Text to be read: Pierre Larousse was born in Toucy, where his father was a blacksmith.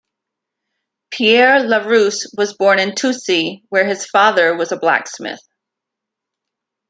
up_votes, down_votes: 2, 0